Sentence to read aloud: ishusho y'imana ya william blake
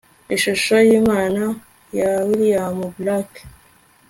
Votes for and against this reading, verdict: 2, 1, accepted